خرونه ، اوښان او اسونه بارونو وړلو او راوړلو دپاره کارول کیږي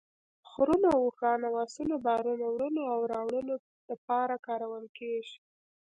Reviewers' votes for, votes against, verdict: 1, 2, rejected